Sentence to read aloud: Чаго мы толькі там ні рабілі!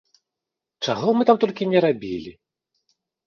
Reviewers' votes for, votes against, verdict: 0, 4, rejected